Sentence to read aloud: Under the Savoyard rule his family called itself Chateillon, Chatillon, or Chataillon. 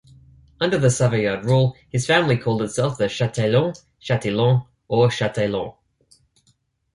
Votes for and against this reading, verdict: 2, 0, accepted